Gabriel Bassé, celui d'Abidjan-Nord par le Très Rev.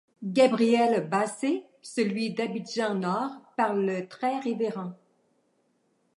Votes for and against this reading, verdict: 0, 2, rejected